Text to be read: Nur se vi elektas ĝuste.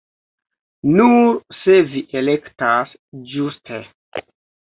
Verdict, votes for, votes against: rejected, 1, 2